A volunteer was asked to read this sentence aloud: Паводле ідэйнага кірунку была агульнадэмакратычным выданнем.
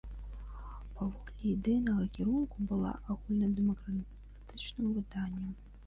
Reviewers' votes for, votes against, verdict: 1, 2, rejected